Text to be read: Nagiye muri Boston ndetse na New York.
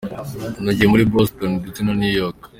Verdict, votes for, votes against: accepted, 2, 1